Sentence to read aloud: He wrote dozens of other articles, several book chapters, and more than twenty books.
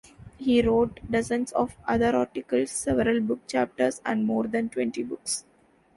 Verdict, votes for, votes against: accepted, 2, 0